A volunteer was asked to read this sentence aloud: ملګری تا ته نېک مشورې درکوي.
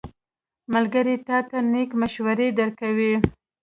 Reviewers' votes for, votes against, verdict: 2, 0, accepted